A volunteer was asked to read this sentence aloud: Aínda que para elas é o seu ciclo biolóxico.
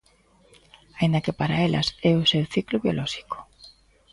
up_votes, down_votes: 2, 0